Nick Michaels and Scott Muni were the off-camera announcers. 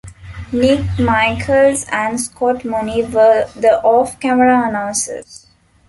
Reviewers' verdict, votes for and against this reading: accepted, 2, 1